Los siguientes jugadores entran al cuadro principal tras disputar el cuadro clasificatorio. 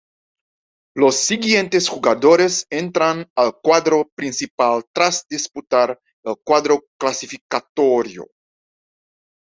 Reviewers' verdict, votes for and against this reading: accepted, 2, 1